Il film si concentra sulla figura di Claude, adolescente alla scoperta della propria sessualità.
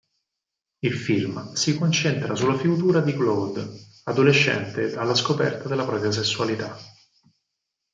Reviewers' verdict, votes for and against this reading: rejected, 2, 4